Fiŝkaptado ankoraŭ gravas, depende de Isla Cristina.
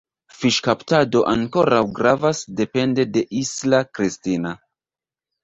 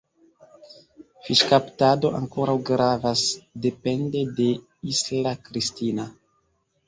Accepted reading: second